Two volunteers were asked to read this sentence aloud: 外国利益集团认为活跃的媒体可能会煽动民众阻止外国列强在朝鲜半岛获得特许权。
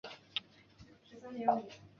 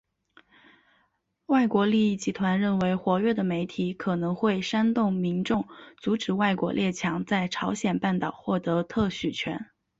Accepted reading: second